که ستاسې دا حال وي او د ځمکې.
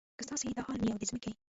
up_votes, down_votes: 0, 2